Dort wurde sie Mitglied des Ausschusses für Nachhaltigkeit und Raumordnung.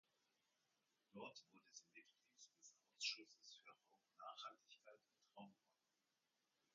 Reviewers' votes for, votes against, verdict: 0, 2, rejected